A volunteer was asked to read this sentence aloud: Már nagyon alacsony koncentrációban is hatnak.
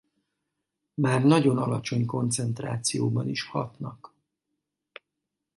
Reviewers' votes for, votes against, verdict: 2, 0, accepted